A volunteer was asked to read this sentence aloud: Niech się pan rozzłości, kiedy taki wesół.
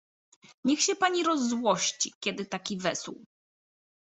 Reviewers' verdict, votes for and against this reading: rejected, 1, 2